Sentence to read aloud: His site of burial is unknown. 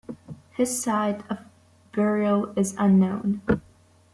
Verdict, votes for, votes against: accepted, 2, 0